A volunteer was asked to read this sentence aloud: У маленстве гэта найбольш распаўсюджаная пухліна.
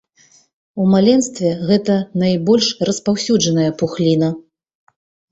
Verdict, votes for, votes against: accepted, 6, 0